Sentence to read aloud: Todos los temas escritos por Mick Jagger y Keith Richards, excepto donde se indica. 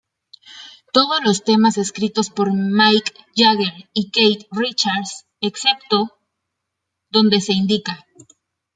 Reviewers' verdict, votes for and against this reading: accepted, 2, 0